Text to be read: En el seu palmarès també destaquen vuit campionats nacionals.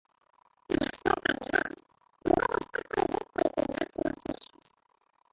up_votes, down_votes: 0, 2